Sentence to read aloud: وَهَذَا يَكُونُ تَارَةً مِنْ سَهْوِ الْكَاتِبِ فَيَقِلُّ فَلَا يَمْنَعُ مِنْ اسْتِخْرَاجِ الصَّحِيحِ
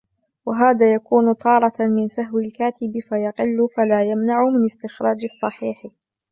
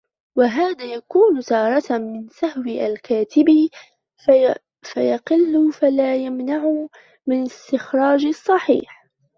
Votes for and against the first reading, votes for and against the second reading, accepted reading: 4, 0, 0, 2, first